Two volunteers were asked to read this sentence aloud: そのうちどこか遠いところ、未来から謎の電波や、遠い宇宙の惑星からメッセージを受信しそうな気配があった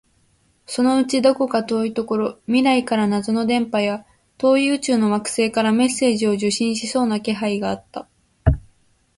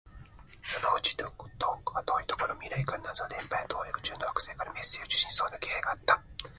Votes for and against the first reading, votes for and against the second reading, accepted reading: 2, 0, 2, 3, first